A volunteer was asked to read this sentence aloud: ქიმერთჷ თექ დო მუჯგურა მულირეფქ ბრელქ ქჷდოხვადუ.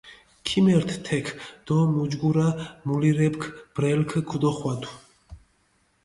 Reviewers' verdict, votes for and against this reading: accepted, 2, 0